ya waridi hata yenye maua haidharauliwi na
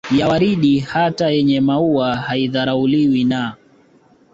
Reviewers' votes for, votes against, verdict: 2, 1, accepted